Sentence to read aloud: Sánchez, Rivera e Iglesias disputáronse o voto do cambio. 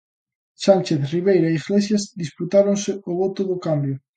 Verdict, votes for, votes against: rejected, 0, 3